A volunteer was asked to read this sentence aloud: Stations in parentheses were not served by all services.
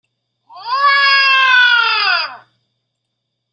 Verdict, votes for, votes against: rejected, 0, 2